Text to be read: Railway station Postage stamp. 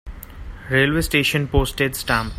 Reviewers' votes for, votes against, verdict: 2, 0, accepted